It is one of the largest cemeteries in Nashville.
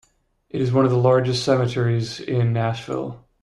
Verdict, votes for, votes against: accepted, 2, 0